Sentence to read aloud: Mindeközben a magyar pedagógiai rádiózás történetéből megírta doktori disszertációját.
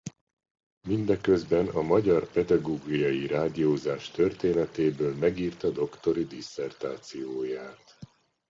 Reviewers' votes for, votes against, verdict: 2, 0, accepted